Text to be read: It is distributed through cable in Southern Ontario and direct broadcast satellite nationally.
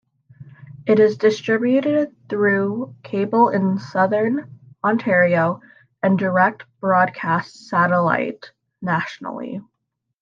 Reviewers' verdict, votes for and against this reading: accepted, 2, 0